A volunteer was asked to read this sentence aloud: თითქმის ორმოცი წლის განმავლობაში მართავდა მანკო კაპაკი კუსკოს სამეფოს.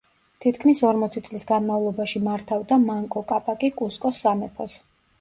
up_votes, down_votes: 2, 0